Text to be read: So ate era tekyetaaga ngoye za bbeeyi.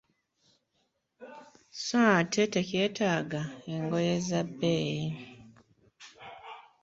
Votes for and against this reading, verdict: 1, 2, rejected